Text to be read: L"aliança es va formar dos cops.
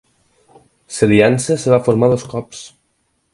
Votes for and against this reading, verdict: 4, 2, accepted